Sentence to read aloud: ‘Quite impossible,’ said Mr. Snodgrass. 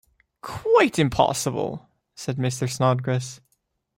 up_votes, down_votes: 2, 0